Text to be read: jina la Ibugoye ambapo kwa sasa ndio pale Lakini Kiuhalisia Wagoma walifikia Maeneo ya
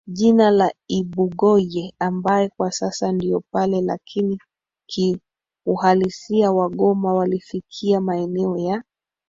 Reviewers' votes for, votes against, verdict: 0, 3, rejected